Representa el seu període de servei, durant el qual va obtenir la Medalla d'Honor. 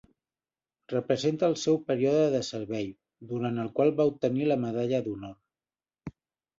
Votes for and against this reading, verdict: 2, 0, accepted